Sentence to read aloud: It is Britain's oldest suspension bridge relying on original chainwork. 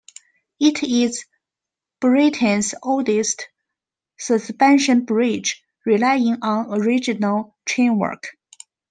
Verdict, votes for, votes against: accepted, 2, 0